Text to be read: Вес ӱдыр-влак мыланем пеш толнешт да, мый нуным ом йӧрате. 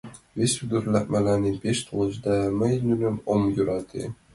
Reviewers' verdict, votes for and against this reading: accepted, 2, 1